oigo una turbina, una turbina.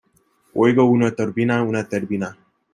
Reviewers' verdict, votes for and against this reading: rejected, 0, 2